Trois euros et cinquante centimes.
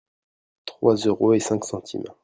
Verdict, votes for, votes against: rejected, 0, 2